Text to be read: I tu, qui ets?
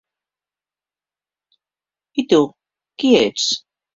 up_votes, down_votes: 4, 0